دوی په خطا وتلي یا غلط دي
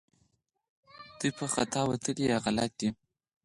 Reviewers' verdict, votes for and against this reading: accepted, 4, 0